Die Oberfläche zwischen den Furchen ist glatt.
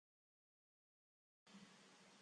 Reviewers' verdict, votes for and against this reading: rejected, 0, 3